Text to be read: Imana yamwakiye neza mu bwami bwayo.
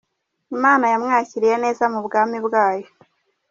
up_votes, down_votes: 1, 3